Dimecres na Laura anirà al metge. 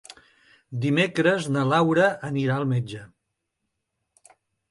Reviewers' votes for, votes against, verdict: 3, 0, accepted